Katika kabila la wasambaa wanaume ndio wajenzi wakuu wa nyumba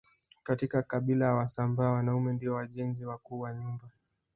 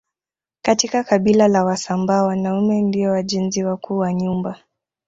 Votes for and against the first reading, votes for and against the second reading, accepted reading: 2, 1, 0, 2, first